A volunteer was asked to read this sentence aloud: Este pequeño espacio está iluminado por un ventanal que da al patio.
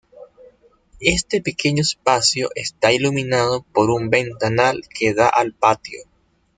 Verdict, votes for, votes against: accepted, 2, 0